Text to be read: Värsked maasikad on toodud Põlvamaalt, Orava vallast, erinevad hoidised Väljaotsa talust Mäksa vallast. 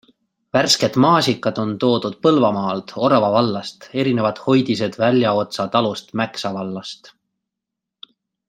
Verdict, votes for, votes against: rejected, 1, 2